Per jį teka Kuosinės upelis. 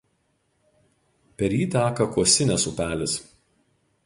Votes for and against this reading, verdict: 2, 0, accepted